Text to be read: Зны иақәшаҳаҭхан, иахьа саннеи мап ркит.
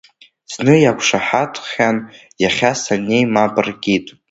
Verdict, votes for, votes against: accepted, 2, 1